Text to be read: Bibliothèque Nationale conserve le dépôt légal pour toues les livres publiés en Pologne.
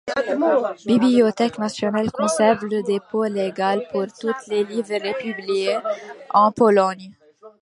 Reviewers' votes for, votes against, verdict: 0, 2, rejected